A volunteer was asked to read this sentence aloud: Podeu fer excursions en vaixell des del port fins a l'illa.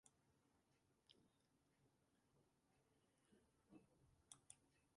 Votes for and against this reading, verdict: 0, 2, rejected